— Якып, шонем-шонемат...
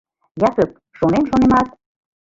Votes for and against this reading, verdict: 2, 1, accepted